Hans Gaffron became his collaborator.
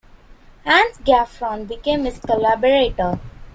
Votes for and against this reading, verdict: 2, 0, accepted